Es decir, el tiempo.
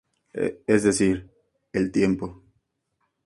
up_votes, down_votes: 2, 0